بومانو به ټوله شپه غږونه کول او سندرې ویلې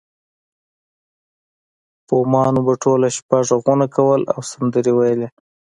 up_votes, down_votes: 2, 0